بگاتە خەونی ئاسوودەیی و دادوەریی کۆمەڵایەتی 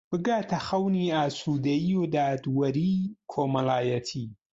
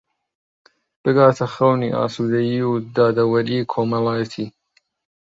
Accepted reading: first